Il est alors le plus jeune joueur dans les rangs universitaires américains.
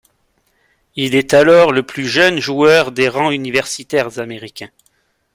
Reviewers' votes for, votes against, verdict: 1, 2, rejected